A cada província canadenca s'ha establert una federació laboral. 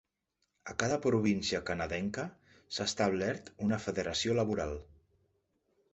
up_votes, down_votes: 3, 0